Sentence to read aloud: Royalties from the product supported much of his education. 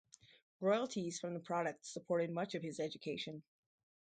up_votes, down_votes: 4, 2